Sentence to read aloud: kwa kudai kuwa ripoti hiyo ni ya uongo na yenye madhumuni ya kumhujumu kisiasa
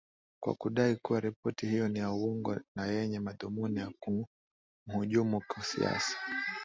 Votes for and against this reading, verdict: 2, 0, accepted